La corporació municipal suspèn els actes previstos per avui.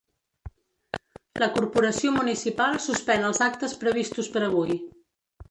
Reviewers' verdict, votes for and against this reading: rejected, 1, 2